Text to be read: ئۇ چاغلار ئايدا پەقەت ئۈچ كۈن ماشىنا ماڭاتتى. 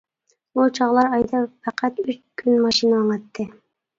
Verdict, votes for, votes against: rejected, 0, 2